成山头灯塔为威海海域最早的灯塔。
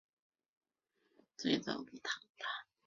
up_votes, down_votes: 1, 2